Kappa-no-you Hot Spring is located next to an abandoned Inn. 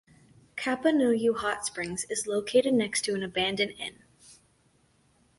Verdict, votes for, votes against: rejected, 0, 2